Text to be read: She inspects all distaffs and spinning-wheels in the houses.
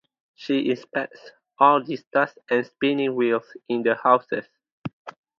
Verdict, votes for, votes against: accepted, 4, 2